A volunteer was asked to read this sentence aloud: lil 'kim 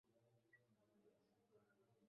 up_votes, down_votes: 0, 2